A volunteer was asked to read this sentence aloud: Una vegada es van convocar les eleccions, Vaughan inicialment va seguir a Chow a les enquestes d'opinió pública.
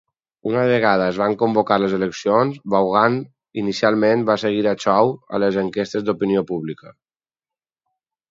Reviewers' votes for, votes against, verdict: 4, 0, accepted